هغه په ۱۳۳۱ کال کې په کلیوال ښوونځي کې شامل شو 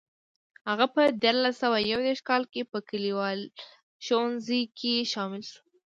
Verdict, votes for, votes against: rejected, 0, 2